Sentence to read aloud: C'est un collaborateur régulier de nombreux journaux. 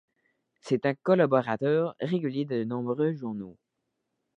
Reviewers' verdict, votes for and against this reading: rejected, 1, 2